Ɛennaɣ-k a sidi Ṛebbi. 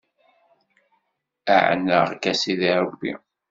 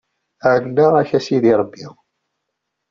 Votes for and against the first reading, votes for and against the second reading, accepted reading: 1, 2, 2, 0, second